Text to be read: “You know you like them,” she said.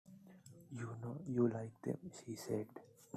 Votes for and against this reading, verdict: 2, 0, accepted